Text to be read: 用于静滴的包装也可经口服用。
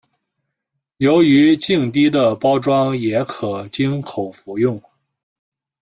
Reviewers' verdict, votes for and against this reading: rejected, 1, 2